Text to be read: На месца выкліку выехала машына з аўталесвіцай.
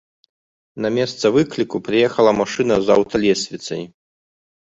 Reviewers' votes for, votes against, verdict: 0, 2, rejected